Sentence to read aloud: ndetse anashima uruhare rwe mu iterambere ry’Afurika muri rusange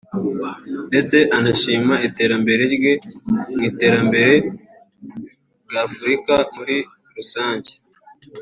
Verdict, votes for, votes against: rejected, 1, 2